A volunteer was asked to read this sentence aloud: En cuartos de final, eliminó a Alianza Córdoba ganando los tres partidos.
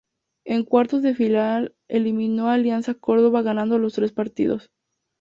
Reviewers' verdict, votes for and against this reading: accepted, 2, 0